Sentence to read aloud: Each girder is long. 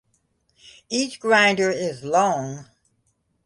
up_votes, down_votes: 0, 2